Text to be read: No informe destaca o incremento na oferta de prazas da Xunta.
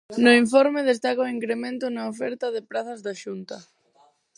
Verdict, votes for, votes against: rejected, 2, 4